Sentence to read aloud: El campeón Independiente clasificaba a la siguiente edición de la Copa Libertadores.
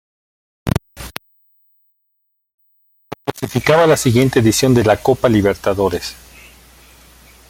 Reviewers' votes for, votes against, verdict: 0, 2, rejected